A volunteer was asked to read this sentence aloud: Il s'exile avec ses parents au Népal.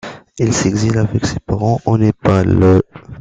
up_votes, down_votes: 2, 1